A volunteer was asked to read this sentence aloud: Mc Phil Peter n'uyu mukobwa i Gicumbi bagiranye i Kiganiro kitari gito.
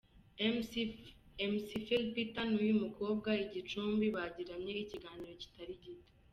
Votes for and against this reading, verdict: 0, 2, rejected